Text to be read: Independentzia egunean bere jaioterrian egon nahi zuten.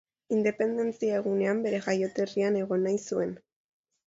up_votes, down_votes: 0, 2